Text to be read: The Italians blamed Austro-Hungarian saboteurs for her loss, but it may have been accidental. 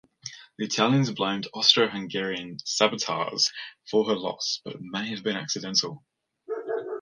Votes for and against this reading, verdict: 0, 2, rejected